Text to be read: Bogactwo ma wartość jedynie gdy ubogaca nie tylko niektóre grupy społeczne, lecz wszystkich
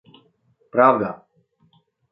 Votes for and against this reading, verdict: 0, 2, rejected